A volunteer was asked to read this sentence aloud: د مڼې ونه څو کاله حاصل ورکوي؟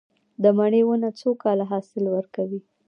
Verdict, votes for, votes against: rejected, 1, 2